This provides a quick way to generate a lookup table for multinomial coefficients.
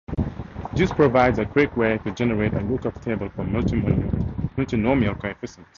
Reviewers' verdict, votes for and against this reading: rejected, 2, 4